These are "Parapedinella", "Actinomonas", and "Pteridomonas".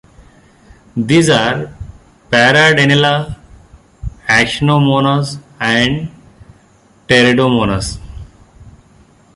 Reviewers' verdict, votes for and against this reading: rejected, 0, 2